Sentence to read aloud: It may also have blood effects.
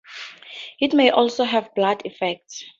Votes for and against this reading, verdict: 4, 0, accepted